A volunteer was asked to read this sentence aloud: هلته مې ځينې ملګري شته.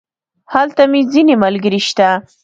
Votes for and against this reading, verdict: 2, 0, accepted